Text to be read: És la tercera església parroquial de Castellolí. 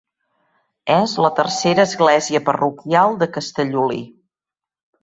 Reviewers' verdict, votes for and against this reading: accepted, 3, 1